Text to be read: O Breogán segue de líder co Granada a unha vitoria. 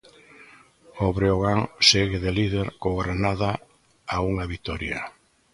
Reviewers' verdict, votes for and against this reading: accepted, 2, 0